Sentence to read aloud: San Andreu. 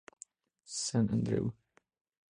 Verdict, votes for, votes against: accepted, 2, 0